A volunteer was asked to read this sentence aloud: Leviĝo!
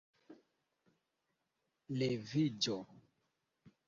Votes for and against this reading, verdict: 1, 2, rejected